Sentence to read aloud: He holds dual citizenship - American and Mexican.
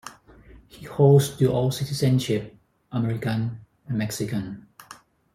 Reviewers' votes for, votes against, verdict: 4, 0, accepted